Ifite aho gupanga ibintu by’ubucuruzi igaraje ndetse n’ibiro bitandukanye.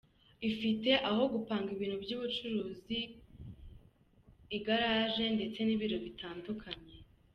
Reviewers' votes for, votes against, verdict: 2, 0, accepted